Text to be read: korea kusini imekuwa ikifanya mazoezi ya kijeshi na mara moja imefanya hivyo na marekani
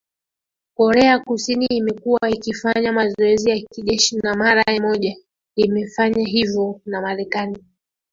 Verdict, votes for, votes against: accepted, 2, 1